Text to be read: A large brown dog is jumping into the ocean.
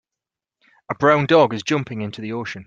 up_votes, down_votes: 0, 4